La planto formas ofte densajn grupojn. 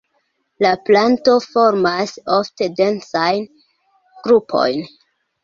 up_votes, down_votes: 2, 0